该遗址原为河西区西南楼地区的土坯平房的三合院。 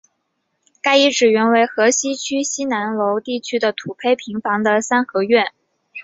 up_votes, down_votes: 4, 0